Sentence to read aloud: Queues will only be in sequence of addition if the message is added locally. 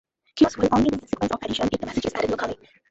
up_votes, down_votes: 0, 2